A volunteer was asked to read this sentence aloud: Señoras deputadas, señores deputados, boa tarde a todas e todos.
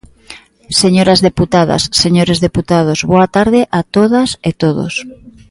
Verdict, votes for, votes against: accepted, 2, 0